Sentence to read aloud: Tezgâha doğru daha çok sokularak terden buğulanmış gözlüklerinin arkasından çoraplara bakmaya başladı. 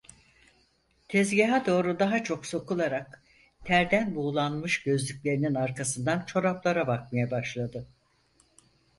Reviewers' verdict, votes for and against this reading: accepted, 4, 0